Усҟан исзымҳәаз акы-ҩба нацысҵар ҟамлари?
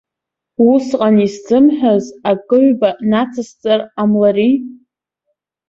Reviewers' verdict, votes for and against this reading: accepted, 2, 0